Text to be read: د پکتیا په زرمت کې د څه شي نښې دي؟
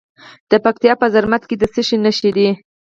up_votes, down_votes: 4, 0